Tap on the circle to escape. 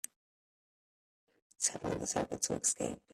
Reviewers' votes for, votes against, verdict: 0, 2, rejected